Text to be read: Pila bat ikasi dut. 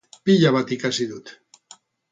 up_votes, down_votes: 2, 0